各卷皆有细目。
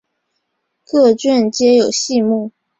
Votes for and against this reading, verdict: 4, 0, accepted